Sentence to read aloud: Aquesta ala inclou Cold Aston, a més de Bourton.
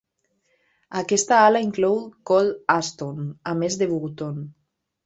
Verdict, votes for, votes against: accepted, 2, 0